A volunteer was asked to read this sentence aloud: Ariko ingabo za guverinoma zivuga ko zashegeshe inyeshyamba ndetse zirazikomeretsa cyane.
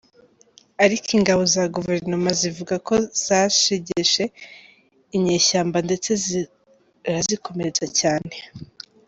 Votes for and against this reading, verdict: 0, 2, rejected